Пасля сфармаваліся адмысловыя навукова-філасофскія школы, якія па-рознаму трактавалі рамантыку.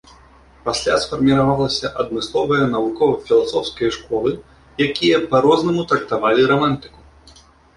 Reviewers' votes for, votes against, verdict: 0, 2, rejected